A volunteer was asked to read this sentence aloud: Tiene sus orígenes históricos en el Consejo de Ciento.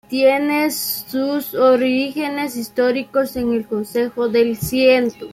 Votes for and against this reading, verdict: 2, 1, accepted